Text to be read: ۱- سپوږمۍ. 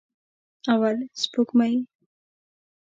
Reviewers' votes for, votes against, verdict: 0, 2, rejected